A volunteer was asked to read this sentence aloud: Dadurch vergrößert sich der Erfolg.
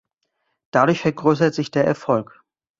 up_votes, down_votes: 2, 0